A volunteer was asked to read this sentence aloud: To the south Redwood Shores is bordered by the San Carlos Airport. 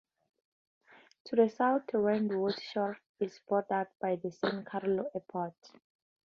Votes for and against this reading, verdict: 2, 4, rejected